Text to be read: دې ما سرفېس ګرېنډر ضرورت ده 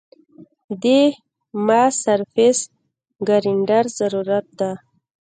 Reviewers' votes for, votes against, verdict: 1, 2, rejected